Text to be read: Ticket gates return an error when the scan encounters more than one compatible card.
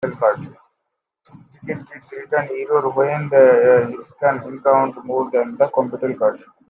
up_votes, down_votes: 0, 2